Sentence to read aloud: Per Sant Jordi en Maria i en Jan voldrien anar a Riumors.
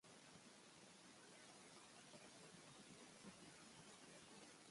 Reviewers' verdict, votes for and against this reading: rejected, 0, 2